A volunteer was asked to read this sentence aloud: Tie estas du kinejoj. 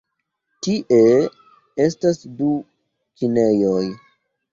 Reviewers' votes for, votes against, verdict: 2, 0, accepted